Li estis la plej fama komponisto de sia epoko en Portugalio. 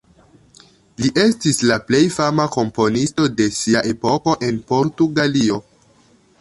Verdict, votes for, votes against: accepted, 2, 1